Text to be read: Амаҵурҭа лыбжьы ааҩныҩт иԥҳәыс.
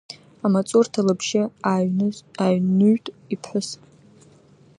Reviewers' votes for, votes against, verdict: 1, 2, rejected